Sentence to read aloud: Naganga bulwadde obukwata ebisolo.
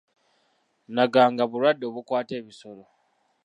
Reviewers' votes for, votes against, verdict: 2, 1, accepted